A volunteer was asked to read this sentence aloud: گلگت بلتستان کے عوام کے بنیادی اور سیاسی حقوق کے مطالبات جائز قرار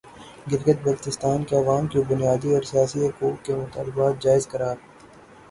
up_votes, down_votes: 0, 3